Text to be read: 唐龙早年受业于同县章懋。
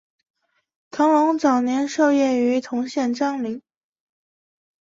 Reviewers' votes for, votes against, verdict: 2, 1, accepted